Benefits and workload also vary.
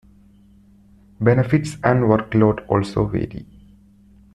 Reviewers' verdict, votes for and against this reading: accepted, 2, 0